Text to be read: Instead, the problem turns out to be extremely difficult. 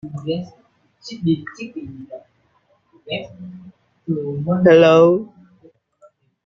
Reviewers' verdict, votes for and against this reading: rejected, 0, 2